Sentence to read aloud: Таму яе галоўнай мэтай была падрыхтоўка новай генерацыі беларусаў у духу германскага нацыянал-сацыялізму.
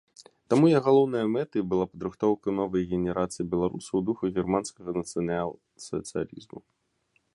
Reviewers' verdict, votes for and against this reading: rejected, 1, 2